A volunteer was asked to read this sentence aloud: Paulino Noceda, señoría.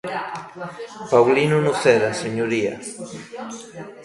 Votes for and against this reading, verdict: 1, 2, rejected